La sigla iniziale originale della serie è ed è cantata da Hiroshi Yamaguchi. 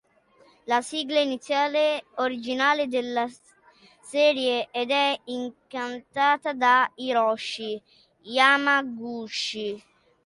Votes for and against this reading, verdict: 0, 2, rejected